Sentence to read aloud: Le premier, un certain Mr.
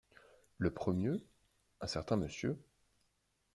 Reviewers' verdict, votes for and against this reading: rejected, 1, 2